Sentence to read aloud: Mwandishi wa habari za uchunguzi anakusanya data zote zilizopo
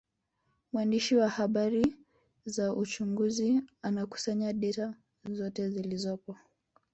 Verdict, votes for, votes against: rejected, 1, 2